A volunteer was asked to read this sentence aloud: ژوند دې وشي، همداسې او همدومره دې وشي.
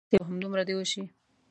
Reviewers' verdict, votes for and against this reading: rejected, 1, 2